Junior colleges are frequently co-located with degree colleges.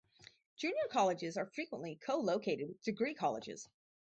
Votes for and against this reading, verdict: 2, 4, rejected